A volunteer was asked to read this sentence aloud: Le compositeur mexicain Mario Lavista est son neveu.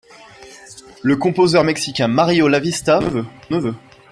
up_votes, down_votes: 0, 2